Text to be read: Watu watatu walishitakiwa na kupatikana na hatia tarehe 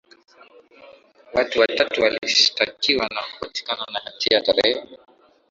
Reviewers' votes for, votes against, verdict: 14, 0, accepted